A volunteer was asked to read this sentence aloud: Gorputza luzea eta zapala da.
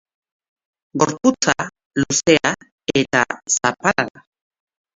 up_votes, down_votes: 0, 3